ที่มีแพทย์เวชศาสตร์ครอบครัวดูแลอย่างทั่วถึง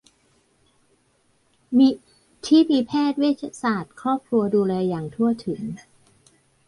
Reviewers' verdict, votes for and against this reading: rejected, 0, 2